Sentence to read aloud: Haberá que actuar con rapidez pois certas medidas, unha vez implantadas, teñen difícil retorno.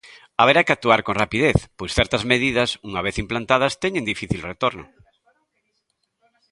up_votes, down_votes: 2, 0